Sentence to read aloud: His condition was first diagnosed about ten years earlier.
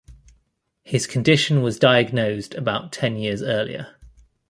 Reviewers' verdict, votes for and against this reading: rejected, 1, 2